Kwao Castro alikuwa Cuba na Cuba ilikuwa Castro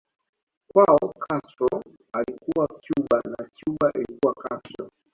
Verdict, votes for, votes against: accepted, 2, 0